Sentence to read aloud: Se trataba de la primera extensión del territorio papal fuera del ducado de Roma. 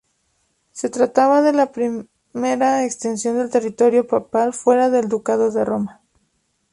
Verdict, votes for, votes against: accepted, 2, 0